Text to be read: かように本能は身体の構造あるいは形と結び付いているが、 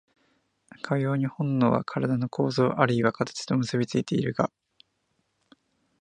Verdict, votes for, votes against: rejected, 1, 2